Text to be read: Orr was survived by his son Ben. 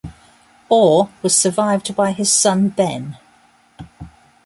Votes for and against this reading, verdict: 2, 0, accepted